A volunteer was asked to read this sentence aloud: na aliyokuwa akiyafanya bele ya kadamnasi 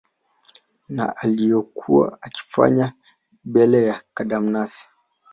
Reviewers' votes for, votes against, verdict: 0, 2, rejected